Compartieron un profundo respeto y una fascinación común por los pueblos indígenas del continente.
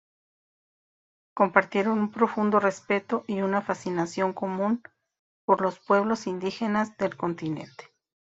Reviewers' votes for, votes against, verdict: 1, 2, rejected